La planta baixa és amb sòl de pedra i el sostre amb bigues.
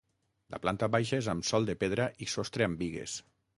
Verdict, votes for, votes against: rejected, 3, 6